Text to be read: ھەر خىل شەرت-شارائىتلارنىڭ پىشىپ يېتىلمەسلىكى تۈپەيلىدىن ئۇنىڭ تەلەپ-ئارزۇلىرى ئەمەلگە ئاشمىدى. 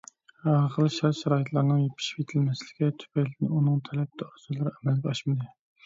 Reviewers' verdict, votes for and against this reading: rejected, 1, 2